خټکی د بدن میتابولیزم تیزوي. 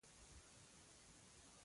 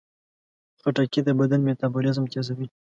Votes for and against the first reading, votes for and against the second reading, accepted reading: 1, 2, 2, 0, second